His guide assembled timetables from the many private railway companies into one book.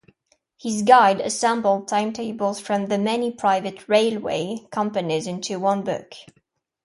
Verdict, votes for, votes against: accepted, 2, 0